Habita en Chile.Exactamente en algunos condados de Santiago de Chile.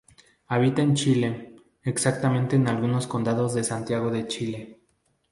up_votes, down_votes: 2, 0